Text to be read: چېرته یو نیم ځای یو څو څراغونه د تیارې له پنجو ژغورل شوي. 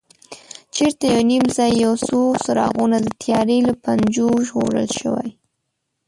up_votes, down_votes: 1, 2